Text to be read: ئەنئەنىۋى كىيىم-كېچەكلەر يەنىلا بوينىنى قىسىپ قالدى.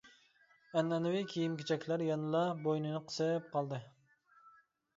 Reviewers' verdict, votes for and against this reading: accepted, 2, 0